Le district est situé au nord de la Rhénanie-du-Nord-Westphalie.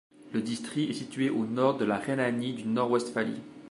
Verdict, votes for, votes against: rejected, 1, 2